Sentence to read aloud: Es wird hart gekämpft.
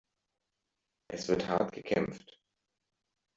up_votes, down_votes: 2, 0